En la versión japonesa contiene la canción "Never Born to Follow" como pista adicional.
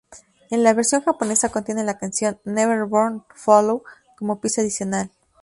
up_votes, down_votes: 4, 0